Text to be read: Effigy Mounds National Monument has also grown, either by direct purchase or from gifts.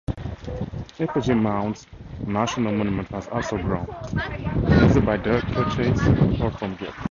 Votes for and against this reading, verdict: 2, 2, rejected